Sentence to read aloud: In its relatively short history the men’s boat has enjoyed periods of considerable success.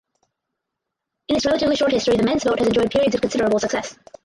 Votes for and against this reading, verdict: 0, 4, rejected